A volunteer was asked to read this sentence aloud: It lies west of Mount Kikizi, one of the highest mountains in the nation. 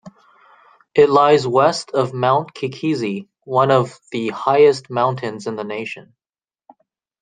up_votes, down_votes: 2, 0